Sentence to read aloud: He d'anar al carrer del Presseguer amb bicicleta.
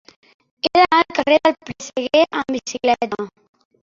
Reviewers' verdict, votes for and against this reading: rejected, 0, 2